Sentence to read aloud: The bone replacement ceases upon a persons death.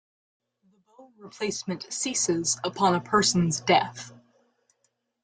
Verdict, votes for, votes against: rejected, 0, 2